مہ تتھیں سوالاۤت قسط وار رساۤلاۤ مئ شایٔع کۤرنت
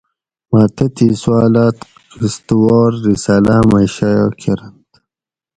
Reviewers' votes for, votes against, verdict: 4, 0, accepted